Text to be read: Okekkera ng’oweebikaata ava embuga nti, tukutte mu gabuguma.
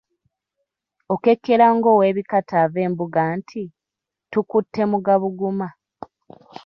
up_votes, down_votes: 2, 0